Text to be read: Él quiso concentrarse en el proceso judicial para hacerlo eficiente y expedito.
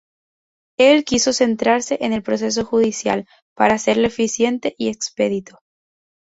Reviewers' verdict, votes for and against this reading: rejected, 0, 2